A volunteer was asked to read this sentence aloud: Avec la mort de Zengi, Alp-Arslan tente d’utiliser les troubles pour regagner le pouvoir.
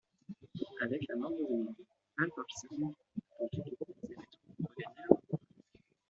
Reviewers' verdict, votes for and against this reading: rejected, 0, 2